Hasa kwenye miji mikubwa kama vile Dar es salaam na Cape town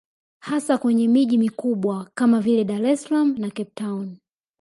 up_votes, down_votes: 2, 1